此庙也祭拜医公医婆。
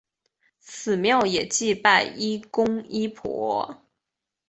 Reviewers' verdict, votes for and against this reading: accepted, 2, 1